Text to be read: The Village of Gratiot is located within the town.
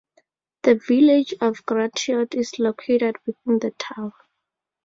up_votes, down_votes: 2, 0